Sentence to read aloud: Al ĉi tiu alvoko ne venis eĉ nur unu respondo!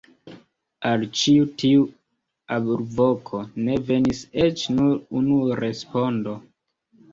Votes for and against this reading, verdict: 1, 2, rejected